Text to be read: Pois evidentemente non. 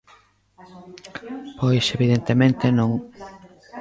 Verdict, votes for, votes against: rejected, 1, 2